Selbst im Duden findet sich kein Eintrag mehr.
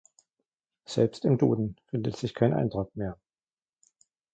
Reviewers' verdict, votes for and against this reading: rejected, 1, 2